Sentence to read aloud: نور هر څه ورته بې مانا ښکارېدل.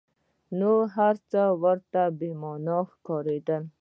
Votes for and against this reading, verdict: 1, 2, rejected